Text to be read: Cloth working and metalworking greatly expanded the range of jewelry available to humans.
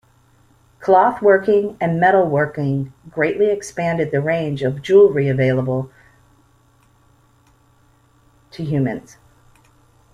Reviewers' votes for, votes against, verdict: 1, 2, rejected